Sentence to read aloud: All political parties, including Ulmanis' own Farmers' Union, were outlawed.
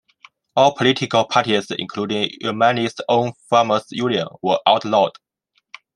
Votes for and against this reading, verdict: 1, 2, rejected